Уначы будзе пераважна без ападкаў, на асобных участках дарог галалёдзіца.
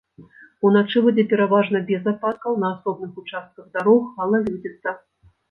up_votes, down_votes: 0, 2